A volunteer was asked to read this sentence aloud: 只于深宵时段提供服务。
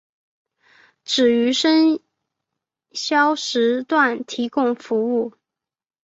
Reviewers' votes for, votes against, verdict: 2, 0, accepted